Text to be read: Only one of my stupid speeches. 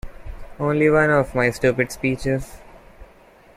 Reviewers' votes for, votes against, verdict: 2, 1, accepted